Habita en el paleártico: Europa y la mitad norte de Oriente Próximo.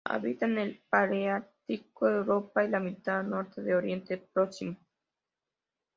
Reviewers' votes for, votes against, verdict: 2, 0, accepted